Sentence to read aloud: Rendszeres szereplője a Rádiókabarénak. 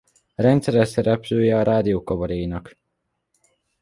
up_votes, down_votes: 2, 0